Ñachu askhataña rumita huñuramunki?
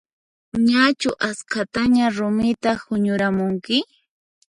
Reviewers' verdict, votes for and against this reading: accepted, 4, 2